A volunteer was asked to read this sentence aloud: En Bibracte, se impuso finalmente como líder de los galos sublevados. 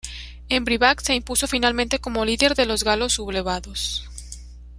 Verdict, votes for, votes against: rejected, 1, 2